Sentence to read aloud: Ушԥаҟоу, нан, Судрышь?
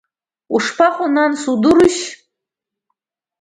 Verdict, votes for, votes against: rejected, 1, 2